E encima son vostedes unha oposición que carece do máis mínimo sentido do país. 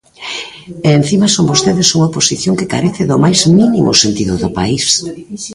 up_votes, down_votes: 2, 3